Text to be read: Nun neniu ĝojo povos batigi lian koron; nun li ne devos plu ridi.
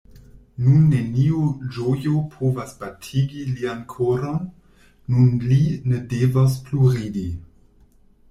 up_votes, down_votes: 1, 2